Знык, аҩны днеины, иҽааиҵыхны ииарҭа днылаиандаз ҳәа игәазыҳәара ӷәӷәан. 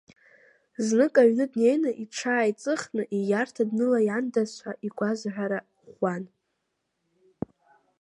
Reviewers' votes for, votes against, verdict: 2, 0, accepted